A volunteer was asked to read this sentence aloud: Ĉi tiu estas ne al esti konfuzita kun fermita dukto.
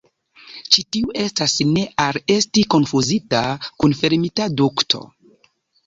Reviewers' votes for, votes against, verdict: 3, 0, accepted